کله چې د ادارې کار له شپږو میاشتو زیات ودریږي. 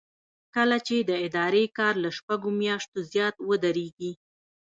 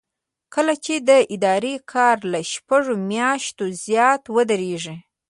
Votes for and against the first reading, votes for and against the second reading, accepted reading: 1, 2, 2, 0, second